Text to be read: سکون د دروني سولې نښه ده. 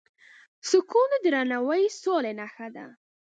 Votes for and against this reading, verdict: 1, 2, rejected